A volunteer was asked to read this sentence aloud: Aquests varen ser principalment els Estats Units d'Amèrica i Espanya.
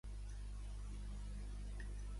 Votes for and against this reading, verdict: 0, 2, rejected